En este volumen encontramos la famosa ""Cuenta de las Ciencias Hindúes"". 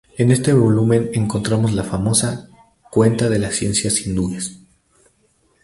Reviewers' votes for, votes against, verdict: 2, 0, accepted